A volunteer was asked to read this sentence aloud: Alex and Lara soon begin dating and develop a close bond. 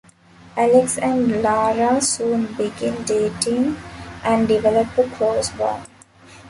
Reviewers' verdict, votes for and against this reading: accepted, 2, 0